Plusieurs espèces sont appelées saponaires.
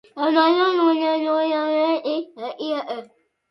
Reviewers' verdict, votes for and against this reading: rejected, 0, 2